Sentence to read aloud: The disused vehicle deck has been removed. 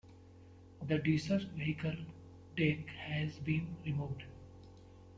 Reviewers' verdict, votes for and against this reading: rejected, 0, 2